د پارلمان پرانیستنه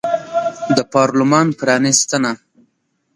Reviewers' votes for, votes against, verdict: 0, 2, rejected